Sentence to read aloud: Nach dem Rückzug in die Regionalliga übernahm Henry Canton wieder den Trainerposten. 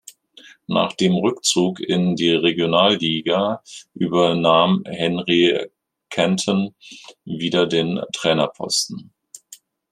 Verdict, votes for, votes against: accepted, 3, 0